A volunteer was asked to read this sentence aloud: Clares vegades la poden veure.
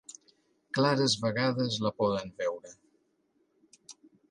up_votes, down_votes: 2, 0